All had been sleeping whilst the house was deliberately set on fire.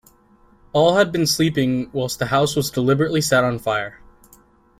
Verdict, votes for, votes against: accepted, 2, 0